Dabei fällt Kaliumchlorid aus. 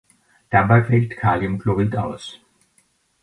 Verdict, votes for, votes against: accepted, 2, 1